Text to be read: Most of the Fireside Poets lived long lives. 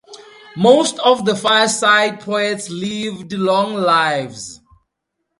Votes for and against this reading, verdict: 4, 0, accepted